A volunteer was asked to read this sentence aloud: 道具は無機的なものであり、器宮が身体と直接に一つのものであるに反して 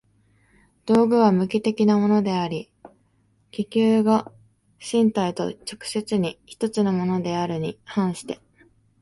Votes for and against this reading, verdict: 1, 2, rejected